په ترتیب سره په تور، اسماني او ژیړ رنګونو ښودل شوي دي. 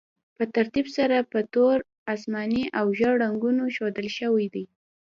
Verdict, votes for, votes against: accepted, 2, 0